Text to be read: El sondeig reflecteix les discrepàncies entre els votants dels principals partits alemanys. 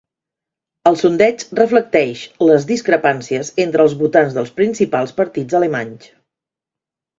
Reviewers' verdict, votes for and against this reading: accepted, 2, 0